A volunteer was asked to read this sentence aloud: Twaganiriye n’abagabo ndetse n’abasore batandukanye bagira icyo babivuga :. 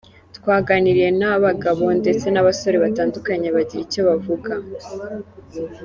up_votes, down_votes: 0, 2